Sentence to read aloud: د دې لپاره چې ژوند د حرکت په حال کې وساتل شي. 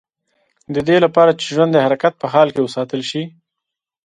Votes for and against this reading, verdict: 2, 0, accepted